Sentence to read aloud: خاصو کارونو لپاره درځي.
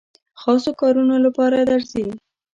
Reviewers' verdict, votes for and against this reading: rejected, 0, 2